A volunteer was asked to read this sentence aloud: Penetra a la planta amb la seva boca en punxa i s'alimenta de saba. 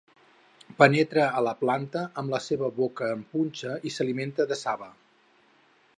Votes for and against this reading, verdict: 6, 0, accepted